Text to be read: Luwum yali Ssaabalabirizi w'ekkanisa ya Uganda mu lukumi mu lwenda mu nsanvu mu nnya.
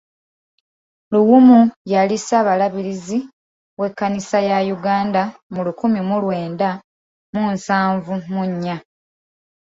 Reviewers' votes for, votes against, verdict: 0, 2, rejected